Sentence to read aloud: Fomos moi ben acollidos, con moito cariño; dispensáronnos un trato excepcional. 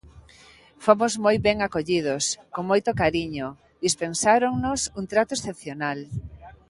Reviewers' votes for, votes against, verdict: 2, 0, accepted